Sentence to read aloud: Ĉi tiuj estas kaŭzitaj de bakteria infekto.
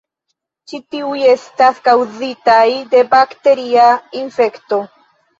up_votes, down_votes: 3, 0